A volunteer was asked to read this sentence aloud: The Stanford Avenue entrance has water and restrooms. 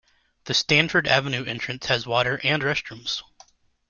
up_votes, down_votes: 2, 0